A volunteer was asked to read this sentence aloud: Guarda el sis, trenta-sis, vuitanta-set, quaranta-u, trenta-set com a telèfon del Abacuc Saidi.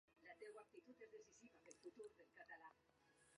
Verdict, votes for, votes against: rejected, 0, 2